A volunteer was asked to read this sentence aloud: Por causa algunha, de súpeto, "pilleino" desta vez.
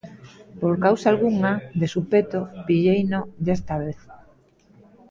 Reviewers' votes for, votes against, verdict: 0, 2, rejected